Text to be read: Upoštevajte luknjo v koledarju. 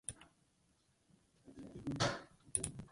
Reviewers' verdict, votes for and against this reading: rejected, 0, 2